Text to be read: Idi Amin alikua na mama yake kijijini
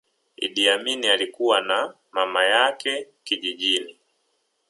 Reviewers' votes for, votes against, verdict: 2, 1, accepted